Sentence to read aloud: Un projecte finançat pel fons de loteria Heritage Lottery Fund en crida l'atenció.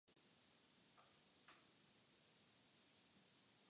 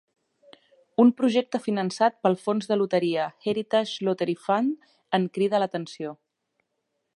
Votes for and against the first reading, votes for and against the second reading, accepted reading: 0, 2, 3, 0, second